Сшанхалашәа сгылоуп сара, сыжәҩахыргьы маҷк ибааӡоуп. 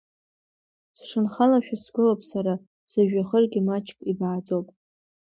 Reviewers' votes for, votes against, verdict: 2, 0, accepted